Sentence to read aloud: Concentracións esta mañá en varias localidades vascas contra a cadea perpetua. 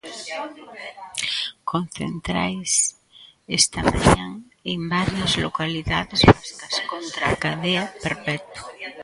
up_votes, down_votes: 0, 3